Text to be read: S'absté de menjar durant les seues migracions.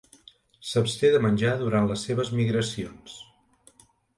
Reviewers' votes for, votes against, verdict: 0, 2, rejected